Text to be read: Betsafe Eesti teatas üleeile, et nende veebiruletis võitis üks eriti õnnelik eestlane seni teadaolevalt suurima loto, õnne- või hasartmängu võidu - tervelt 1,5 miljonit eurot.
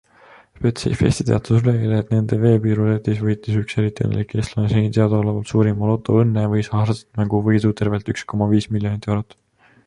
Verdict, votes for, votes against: rejected, 0, 2